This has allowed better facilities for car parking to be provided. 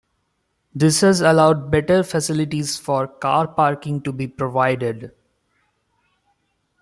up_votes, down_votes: 2, 0